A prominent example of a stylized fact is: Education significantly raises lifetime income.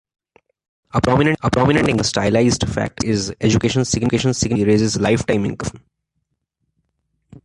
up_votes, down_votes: 0, 2